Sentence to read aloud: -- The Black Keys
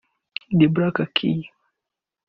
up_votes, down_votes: 2, 0